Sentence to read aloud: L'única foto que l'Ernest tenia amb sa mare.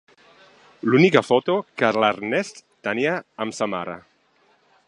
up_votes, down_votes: 3, 1